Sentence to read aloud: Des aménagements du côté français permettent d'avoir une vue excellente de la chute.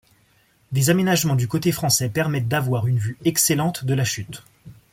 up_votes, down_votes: 2, 0